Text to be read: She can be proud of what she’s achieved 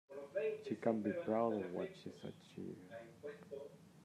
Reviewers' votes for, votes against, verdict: 1, 2, rejected